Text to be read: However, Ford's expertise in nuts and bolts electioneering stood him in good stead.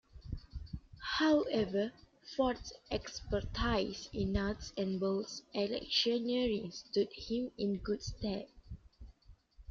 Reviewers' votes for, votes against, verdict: 2, 0, accepted